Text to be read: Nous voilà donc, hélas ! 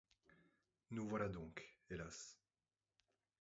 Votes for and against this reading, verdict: 2, 0, accepted